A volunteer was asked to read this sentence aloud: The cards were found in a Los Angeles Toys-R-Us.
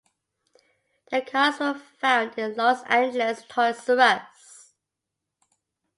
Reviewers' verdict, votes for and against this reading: accepted, 2, 0